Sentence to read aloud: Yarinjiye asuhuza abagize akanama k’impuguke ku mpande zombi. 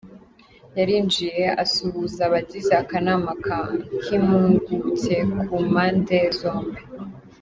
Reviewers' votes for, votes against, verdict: 0, 2, rejected